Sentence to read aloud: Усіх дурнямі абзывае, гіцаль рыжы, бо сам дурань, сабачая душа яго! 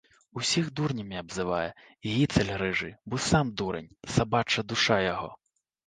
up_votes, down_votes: 2, 3